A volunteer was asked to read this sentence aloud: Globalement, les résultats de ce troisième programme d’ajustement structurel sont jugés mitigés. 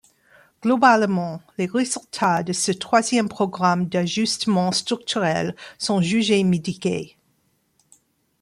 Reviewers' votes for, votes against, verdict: 0, 2, rejected